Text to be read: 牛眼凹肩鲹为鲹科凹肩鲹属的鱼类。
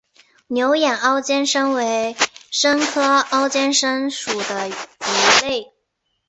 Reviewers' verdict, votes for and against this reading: accepted, 3, 0